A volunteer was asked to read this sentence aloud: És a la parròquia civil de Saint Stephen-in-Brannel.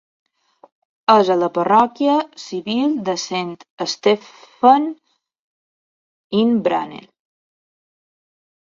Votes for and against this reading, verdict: 1, 2, rejected